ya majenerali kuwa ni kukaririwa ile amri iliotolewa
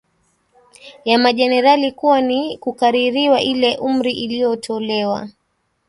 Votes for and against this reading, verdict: 1, 2, rejected